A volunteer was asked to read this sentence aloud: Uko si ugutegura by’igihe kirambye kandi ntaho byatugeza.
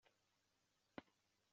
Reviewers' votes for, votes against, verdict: 0, 2, rejected